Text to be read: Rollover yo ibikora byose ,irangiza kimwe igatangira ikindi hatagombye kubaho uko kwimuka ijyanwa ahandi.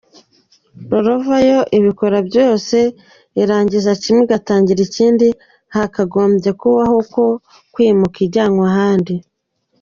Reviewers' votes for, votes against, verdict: 2, 0, accepted